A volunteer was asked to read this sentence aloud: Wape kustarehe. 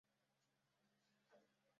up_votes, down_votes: 0, 2